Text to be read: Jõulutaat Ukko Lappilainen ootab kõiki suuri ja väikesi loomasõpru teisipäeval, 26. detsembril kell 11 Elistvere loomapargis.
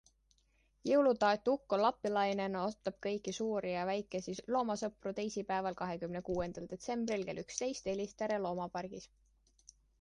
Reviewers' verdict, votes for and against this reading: rejected, 0, 2